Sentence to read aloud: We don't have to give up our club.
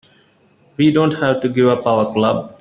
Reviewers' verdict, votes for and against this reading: rejected, 1, 2